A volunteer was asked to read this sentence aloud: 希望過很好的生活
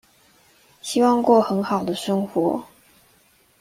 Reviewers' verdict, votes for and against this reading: accepted, 2, 0